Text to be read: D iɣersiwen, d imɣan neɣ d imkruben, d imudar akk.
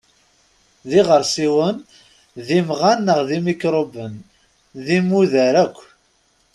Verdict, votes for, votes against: accepted, 2, 0